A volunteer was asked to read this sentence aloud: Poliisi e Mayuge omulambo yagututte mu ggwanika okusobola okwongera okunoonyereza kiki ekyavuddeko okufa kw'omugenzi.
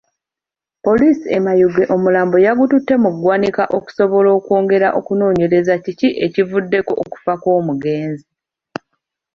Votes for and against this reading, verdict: 2, 1, accepted